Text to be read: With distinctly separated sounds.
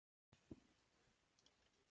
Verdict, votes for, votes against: rejected, 0, 2